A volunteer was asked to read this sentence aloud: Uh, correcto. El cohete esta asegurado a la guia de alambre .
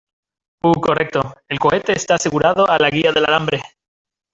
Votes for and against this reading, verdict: 1, 2, rejected